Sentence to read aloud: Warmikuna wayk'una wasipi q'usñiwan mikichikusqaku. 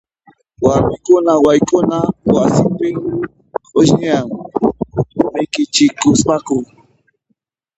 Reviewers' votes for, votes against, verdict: 2, 0, accepted